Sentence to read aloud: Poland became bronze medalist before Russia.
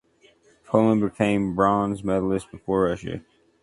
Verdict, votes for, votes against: accepted, 2, 0